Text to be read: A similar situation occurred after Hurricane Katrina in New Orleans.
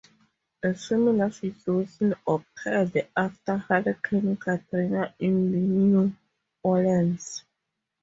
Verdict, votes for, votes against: rejected, 0, 4